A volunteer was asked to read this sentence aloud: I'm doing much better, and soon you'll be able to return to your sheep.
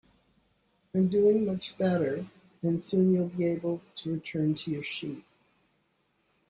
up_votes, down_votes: 2, 1